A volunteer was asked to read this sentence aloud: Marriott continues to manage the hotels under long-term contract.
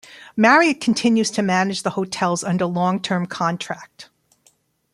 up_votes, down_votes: 1, 2